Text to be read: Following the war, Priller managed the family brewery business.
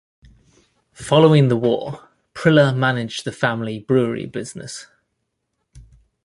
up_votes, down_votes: 2, 0